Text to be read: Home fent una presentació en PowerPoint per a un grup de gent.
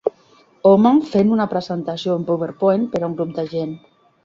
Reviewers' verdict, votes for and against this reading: accepted, 3, 0